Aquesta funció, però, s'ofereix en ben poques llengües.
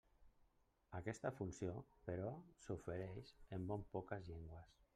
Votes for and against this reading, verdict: 1, 2, rejected